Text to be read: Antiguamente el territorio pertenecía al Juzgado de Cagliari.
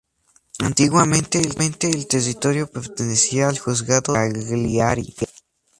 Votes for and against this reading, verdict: 0, 2, rejected